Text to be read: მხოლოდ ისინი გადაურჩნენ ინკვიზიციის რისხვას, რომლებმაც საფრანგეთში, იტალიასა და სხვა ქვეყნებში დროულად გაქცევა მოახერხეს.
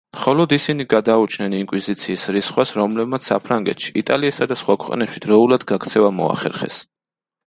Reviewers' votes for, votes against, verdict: 2, 0, accepted